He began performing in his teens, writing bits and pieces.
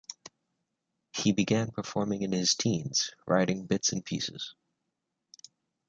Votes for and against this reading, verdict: 3, 1, accepted